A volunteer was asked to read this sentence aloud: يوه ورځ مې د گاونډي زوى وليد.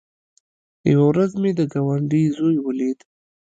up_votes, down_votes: 1, 2